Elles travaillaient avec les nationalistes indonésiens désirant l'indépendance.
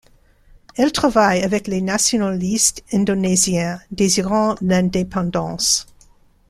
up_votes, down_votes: 2, 0